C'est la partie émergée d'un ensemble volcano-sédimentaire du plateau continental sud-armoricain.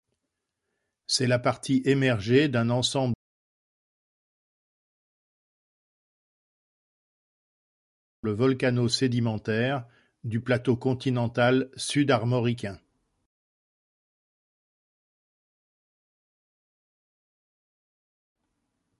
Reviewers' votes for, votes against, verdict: 0, 2, rejected